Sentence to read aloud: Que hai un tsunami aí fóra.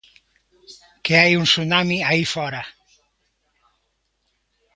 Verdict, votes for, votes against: accepted, 2, 0